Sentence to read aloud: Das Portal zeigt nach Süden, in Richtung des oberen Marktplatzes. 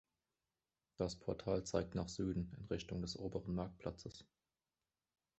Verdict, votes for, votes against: accepted, 2, 0